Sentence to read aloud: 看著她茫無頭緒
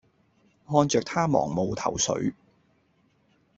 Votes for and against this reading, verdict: 2, 0, accepted